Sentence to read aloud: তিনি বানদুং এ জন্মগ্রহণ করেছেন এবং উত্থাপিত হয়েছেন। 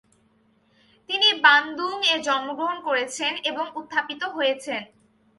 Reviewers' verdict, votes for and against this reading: accepted, 4, 0